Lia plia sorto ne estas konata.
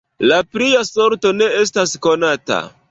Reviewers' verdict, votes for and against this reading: rejected, 1, 2